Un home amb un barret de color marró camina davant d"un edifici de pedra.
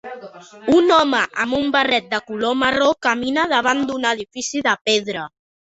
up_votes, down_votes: 2, 0